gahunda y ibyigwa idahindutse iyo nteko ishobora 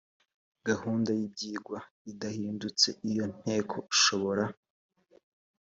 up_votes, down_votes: 2, 0